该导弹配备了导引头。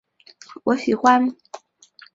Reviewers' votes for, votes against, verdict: 0, 2, rejected